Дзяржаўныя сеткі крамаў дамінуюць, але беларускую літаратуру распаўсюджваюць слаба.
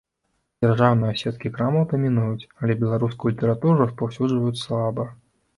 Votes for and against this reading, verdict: 2, 1, accepted